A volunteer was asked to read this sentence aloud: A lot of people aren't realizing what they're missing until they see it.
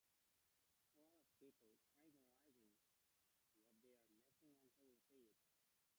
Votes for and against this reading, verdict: 0, 2, rejected